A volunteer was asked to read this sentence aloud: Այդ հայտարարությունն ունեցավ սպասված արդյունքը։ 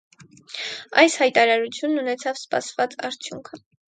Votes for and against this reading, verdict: 0, 4, rejected